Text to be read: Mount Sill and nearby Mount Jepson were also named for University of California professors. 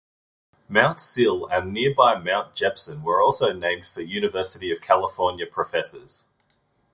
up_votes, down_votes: 2, 0